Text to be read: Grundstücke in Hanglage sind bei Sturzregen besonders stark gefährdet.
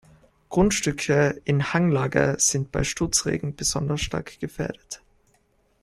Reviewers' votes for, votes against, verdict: 2, 0, accepted